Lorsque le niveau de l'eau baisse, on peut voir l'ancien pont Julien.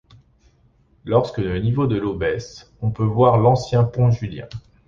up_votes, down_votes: 2, 0